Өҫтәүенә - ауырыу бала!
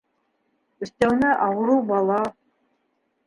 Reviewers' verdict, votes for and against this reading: accepted, 2, 1